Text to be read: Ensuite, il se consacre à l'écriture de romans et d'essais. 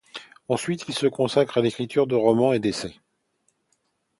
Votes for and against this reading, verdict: 2, 0, accepted